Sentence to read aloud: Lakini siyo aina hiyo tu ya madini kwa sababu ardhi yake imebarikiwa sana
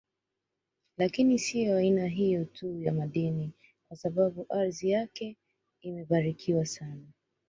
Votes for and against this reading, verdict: 1, 2, rejected